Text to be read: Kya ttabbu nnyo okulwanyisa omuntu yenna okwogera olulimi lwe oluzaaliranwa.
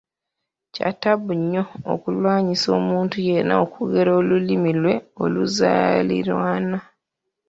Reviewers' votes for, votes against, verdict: 0, 3, rejected